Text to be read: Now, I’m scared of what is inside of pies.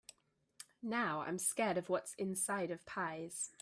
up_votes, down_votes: 0, 2